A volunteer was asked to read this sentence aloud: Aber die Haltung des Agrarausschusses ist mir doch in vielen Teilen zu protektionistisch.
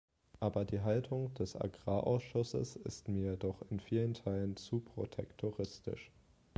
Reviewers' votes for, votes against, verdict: 1, 2, rejected